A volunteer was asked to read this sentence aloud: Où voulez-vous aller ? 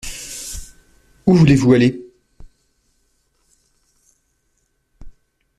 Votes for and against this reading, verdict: 2, 0, accepted